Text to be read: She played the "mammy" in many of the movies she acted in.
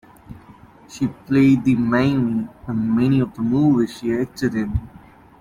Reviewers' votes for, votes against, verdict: 1, 2, rejected